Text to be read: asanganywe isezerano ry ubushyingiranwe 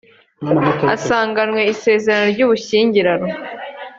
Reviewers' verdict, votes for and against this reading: accepted, 2, 0